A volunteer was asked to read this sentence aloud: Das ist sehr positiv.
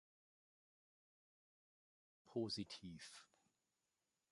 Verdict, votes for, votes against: rejected, 0, 2